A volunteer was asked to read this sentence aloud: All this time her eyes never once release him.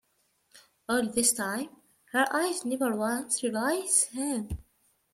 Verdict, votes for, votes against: rejected, 0, 2